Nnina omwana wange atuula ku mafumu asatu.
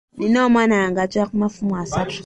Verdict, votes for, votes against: accepted, 3, 0